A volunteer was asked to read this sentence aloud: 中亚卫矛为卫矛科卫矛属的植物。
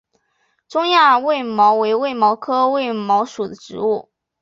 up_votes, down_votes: 2, 0